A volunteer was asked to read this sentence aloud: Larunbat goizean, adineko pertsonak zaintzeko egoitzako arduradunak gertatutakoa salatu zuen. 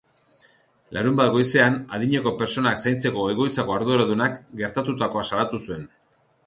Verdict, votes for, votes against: accepted, 2, 0